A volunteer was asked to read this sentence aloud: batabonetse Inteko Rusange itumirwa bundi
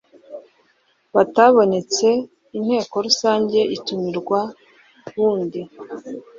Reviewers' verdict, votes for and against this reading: accepted, 2, 0